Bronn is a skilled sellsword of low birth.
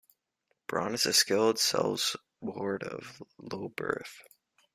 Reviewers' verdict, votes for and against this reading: rejected, 0, 2